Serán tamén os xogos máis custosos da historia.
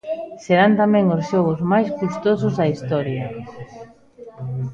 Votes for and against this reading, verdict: 1, 2, rejected